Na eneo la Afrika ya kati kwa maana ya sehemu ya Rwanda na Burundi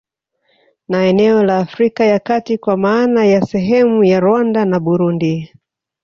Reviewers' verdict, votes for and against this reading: accepted, 3, 0